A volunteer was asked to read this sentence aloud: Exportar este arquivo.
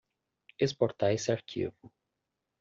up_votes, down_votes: 1, 2